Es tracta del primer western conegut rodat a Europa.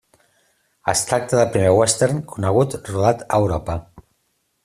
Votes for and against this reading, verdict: 2, 0, accepted